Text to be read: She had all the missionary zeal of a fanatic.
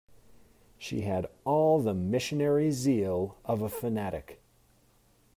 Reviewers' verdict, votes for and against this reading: accepted, 2, 0